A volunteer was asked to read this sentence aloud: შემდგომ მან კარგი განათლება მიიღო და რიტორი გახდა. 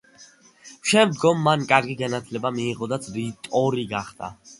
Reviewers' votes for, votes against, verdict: 1, 2, rejected